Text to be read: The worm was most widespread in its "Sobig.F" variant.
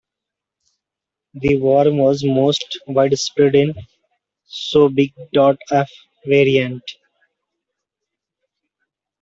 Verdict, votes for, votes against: rejected, 0, 2